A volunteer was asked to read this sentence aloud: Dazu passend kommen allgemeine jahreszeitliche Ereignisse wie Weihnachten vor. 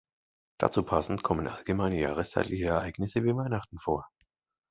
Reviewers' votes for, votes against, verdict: 2, 0, accepted